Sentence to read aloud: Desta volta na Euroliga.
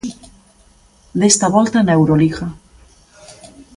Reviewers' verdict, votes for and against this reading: accepted, 3, 0